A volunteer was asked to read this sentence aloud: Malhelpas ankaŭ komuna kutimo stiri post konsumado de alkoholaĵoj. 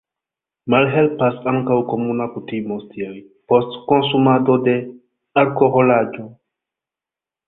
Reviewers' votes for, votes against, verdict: 0, 2, rejected